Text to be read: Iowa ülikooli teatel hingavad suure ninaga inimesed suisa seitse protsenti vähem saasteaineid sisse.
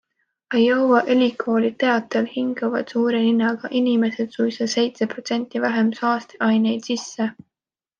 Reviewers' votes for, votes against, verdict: 2, 0, accepted